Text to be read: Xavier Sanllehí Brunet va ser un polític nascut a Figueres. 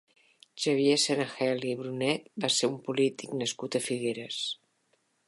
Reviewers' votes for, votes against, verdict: 0, 2, rejected